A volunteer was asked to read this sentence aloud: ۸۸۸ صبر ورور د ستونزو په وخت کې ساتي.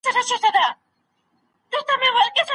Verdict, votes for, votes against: rejected, 0, 2